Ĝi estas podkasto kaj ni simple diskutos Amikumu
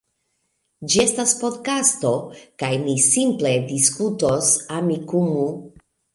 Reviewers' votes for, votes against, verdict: 2, 0, accepted